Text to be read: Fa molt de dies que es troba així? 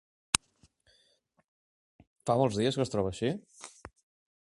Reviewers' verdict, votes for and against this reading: rejected, 1, 2